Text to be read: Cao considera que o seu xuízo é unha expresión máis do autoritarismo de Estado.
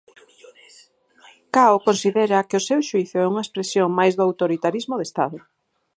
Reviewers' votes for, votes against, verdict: 4, 2, accepted